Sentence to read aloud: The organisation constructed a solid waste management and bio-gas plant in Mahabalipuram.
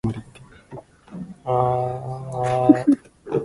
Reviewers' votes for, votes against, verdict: 0, 2, rejected